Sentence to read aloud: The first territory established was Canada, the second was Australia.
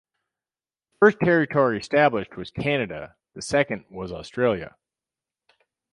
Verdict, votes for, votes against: rejected, 0, 2